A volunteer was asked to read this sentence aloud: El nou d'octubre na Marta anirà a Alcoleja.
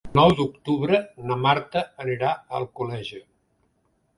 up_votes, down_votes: 1, 2